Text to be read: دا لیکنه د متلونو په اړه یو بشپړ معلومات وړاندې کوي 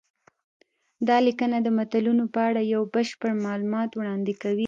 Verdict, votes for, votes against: accepted, 2, 0